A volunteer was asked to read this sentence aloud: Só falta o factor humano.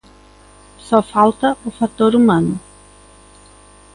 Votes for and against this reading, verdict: 2, 0, accepted